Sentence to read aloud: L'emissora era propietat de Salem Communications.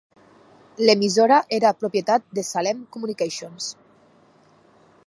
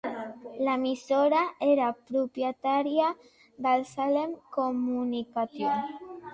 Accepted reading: first